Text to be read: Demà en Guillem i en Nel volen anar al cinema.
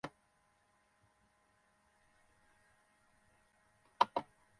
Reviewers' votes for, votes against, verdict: 1, 3, rejected